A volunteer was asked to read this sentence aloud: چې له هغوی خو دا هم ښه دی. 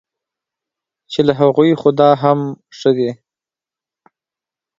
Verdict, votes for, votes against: accepted, 2, 0